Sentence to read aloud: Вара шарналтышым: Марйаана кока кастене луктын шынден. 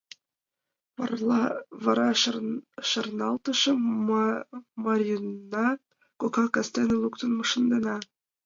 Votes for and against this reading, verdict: 1, 2, rejected